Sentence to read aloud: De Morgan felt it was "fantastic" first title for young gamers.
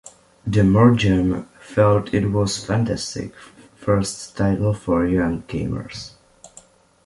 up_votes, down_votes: 2, 1